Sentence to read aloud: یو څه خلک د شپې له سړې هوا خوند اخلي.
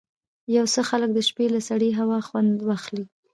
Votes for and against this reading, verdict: 1, 2, rejected